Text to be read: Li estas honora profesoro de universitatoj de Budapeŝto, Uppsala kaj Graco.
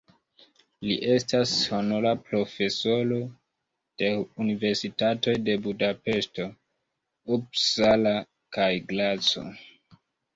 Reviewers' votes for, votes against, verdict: 2, 0, accepted